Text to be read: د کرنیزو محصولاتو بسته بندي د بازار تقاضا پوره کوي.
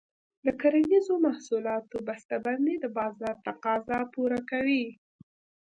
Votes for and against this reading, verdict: 2, 0, accepted